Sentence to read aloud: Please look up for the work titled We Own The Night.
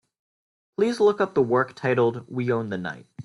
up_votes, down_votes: 2, 0